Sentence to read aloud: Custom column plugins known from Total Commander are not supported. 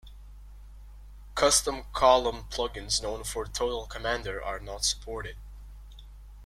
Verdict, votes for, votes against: accepted, 2, 0